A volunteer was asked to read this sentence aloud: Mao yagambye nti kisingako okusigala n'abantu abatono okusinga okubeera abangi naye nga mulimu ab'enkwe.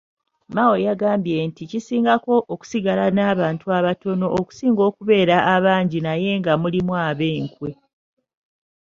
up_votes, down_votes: 1, 2